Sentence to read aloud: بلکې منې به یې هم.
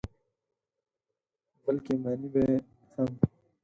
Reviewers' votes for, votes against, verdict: 2, 4, rejected